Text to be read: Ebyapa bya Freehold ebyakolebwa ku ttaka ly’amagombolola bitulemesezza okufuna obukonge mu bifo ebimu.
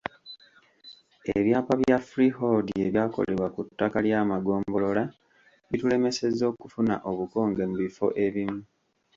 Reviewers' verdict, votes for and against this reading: rejected, 0, 2